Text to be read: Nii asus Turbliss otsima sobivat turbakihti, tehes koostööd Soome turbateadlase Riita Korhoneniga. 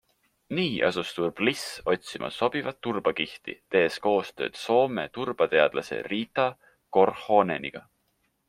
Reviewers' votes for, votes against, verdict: 3, 0, accepted